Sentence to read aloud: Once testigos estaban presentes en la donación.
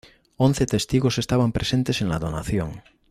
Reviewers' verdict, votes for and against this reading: accepted, 2, 0